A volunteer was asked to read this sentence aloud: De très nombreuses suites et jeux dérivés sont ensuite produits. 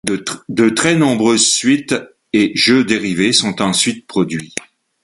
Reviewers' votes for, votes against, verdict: 1, 2, rejected